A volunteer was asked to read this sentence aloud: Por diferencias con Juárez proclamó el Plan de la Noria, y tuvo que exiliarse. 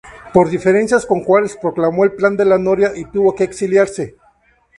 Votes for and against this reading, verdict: 2, 0, accepted